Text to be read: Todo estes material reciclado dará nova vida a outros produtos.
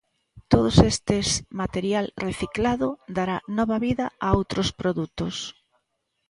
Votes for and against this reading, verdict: 0, 2, rejected